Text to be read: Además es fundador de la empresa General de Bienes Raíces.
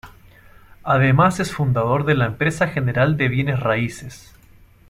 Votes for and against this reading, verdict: 2, 0, accepted